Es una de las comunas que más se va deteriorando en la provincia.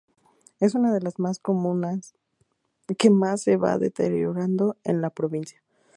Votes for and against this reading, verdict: 0, 2, rejected